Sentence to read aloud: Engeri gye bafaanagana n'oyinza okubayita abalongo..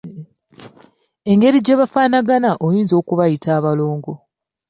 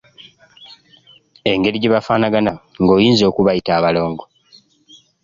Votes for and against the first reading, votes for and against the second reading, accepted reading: 1, 2, 2, 1, second